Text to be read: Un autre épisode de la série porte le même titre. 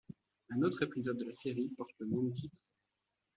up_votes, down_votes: 1, 2